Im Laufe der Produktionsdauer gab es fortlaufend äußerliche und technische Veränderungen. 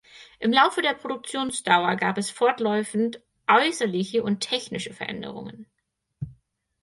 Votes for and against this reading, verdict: 2, 4, rejected